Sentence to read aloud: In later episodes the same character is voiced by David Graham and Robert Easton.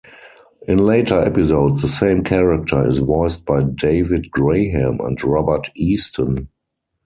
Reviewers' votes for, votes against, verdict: 4, 2, accepted